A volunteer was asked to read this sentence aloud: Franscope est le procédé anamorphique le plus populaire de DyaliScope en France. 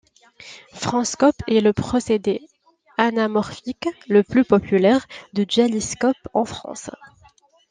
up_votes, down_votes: 1, 2